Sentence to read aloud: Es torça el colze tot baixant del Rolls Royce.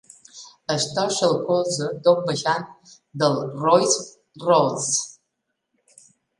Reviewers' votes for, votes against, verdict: 0, 2, rejected